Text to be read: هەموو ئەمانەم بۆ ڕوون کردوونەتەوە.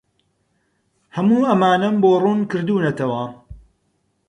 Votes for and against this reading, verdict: 4, 0, accepted